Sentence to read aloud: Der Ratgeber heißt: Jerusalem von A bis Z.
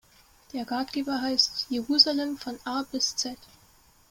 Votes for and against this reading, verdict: 1, 2, rejected